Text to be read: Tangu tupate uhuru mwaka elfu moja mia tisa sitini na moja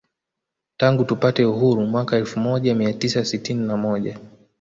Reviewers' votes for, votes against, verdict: 2, 0, accepted